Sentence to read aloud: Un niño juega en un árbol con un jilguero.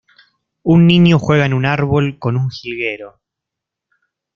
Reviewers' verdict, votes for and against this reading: accepted, 2, 0